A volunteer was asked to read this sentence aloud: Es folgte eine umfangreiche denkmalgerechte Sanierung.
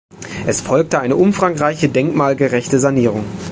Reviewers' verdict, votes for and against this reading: accepted, 2, 0